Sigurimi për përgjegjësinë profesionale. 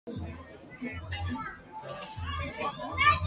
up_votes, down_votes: 0, 2